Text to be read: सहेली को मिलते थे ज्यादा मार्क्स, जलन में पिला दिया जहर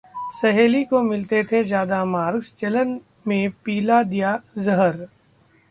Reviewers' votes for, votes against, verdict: 2, 0, accepted